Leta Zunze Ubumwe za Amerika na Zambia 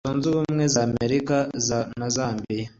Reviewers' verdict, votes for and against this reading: accepted, 2, 0